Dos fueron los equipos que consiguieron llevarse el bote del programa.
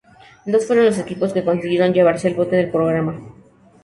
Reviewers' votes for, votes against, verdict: 2, 0, accepted